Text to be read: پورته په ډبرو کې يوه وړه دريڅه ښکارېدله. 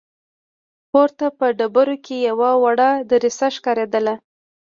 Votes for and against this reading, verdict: 2, 0, accepted